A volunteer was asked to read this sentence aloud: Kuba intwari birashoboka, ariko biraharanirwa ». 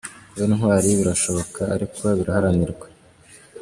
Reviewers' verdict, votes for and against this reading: accepted, 2, 1